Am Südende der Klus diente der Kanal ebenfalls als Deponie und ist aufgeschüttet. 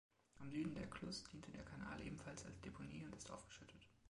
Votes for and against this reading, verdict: 2, 1, accepted